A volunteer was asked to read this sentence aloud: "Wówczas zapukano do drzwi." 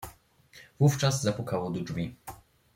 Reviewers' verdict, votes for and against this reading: rejected, 0, 2